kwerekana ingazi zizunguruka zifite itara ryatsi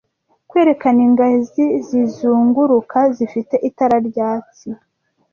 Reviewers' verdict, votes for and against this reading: rejected, 1, 2